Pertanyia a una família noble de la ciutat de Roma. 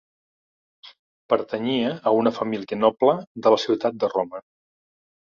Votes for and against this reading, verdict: 1, 3, rejected